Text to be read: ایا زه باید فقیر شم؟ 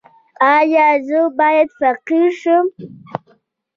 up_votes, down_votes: 1, 2